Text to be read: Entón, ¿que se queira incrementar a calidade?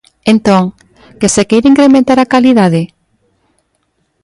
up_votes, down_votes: 2, 0